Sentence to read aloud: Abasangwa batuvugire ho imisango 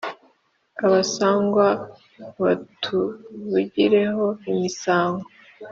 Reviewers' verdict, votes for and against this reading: accepted, 3, 0